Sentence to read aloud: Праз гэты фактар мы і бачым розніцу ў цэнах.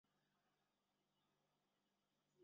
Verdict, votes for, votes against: rejected, 0, 2